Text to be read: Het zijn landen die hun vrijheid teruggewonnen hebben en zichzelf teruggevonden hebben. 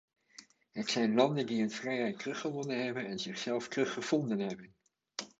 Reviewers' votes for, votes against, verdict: 2, 0, accepted